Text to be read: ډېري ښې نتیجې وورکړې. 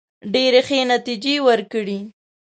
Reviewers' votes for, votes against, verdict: 2, 1, accepted